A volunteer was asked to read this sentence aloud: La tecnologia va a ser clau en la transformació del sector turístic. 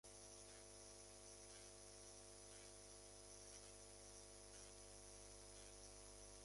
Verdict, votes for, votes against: rejected, 0, 2